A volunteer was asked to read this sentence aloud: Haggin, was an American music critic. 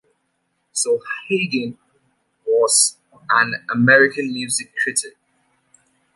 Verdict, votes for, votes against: rejected, 1, 2